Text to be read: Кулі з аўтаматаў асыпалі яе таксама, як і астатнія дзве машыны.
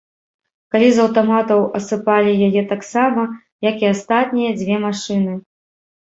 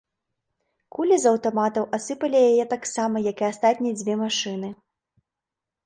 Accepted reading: second